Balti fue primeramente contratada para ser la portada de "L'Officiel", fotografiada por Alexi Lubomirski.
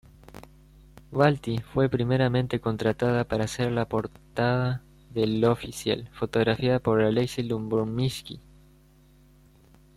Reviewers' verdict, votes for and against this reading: rejected, 1, 2